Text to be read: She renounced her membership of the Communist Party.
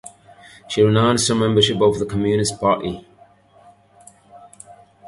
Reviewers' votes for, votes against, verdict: 0, 2, rejected